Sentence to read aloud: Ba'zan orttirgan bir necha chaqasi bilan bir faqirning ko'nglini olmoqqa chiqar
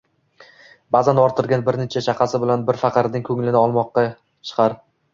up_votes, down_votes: 2, 0